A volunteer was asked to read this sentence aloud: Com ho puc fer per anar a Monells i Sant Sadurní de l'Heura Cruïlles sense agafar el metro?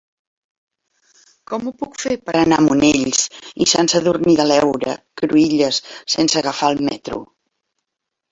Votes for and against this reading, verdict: 0, 2, rejected